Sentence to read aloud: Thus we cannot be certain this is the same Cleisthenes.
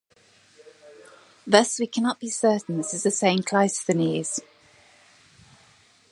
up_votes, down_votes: 2, 0